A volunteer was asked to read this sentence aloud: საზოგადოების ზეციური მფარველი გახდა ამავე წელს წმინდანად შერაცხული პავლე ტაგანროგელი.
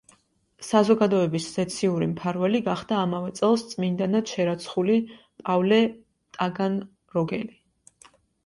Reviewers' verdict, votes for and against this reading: accepted, 2, 1